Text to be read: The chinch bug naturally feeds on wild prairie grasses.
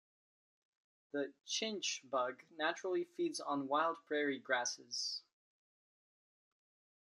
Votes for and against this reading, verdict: 2, 0, accepted